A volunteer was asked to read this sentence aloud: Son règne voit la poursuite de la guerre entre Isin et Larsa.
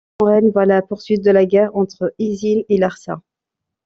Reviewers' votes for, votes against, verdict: 1, 2, rejected